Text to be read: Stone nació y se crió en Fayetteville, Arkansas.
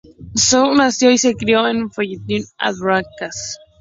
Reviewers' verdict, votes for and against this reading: accepted, 2, 0